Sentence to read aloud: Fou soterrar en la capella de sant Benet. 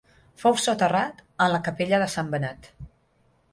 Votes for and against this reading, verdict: 3, 3, rejected